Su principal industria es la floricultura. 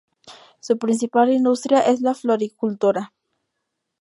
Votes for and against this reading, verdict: 0, 2, rejected